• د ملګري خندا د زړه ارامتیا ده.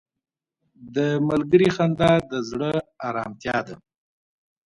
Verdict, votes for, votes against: accepted, 2, 0